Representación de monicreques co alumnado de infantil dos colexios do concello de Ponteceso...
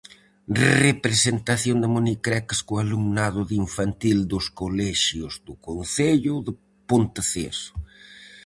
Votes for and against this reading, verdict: 2, 2, rejected